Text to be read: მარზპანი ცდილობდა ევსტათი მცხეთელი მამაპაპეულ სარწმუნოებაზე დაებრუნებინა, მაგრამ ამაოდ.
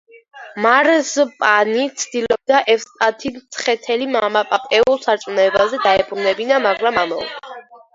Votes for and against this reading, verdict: 2, 0, accepted